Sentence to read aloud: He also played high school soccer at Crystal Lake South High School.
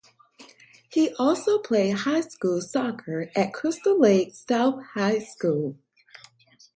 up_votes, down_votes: 4, 0